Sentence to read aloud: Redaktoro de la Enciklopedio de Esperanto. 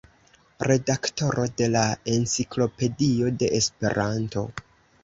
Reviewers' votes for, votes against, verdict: 2, 0, accepted